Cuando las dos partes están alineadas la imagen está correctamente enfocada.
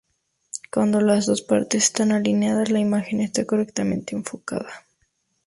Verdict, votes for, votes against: accepted, 2, 0